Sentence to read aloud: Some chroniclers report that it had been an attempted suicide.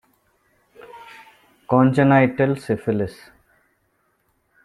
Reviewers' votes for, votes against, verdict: 0, 2, rejected